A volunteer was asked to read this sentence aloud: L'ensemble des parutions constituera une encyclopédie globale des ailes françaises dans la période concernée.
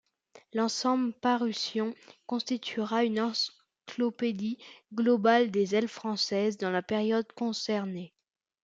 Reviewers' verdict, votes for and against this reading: rejected, 1, 2